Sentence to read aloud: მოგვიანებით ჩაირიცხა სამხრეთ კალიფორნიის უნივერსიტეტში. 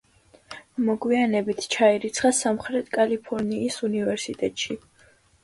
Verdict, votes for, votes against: accepted, 2, 0